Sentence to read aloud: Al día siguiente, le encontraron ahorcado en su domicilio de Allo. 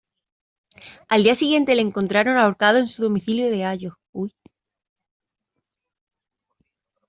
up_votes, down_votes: 1, 2